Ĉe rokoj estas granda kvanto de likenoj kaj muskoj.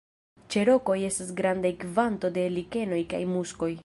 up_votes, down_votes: 1, 2